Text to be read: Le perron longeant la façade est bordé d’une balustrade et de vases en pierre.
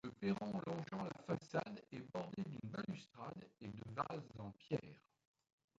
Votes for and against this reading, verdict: 0, 2, rejected